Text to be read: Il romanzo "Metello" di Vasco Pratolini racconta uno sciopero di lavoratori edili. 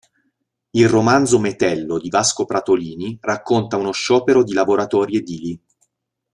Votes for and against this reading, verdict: 2, 0, accepted